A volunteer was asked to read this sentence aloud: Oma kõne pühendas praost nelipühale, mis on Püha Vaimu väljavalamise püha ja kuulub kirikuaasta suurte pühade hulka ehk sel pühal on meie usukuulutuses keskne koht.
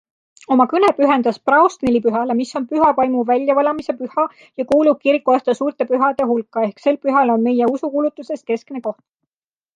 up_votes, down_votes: 2, 0